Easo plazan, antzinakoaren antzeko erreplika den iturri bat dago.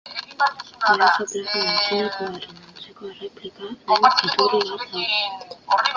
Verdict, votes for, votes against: rejected, 0, 2